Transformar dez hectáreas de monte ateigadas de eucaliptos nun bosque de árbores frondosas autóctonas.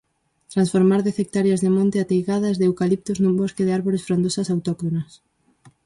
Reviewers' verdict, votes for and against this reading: rejected, 0, 4